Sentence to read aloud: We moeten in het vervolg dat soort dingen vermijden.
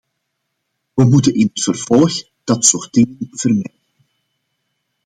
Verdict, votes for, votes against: rejected, 0, 2